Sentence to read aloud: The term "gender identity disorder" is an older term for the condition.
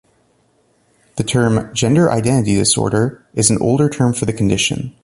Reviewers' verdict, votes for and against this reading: accepted, 2, 0